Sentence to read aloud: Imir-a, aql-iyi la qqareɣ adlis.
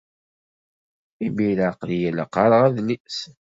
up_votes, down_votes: 2, 0